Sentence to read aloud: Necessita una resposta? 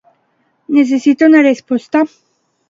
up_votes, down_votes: 2, 0